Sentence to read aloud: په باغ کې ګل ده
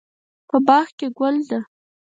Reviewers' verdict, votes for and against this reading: accepted, 4, 0